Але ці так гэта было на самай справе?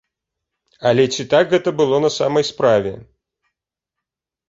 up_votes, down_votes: 2, 0